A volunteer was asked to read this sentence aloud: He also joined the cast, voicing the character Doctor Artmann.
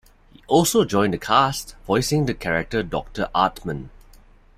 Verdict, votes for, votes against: rejected, 0, 2